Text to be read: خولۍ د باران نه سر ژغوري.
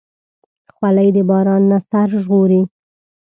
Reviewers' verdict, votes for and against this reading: accepted, 2, 0